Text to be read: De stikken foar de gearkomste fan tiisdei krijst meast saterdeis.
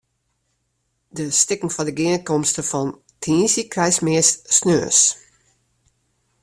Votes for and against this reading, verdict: 0, 2, rejected